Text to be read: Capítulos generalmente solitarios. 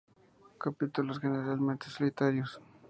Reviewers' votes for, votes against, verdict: 2, 0, accepted